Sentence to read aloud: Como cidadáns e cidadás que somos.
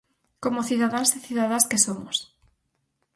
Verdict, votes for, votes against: rejected, 2, 2